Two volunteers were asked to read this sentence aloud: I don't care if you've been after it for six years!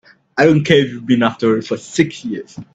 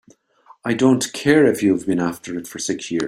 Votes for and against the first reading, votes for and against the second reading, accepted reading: 2, 0, 1, 2, first